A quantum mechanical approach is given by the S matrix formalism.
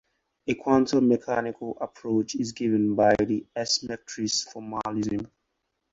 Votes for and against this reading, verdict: 2, 2, rejected